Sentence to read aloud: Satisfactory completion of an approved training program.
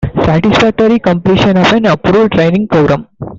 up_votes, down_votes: 1, 2